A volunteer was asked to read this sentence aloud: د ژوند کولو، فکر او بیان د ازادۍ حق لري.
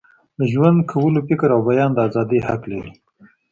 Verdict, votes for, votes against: accepted, 2, 0